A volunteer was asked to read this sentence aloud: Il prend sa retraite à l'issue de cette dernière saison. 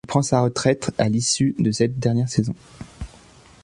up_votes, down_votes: 0, 3